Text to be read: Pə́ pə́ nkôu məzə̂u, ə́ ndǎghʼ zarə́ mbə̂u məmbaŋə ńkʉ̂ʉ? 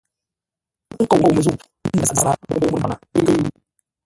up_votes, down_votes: 0, 2